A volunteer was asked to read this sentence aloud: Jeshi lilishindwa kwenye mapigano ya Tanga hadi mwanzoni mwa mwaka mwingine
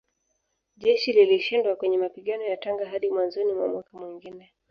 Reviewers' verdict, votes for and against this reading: accepted, 2, 1